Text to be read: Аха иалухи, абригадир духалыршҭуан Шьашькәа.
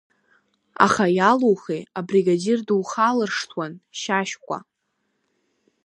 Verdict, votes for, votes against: accepted, 2, 0